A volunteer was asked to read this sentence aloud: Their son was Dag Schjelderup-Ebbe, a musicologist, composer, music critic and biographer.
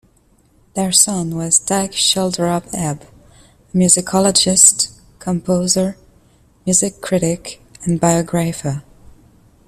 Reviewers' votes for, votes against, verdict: 0, 2, rejected